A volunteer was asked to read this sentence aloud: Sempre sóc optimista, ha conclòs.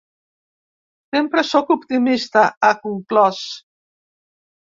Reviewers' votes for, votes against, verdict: 2, 0, accepted